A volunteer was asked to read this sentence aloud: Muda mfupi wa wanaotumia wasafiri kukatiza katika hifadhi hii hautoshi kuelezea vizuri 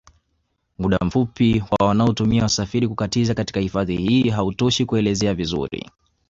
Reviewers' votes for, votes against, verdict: 2, 0, accepted